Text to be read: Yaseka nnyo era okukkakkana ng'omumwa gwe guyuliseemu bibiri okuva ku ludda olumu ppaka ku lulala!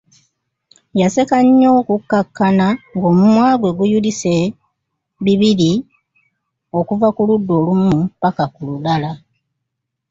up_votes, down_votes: 1, 2